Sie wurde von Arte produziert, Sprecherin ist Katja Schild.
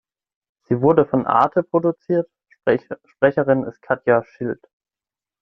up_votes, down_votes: 0, 6